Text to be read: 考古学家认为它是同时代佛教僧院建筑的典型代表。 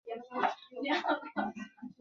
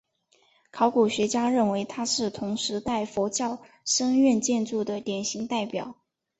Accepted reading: second